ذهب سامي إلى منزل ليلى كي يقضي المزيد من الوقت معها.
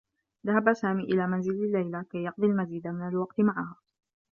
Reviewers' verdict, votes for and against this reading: rejected, 0, 2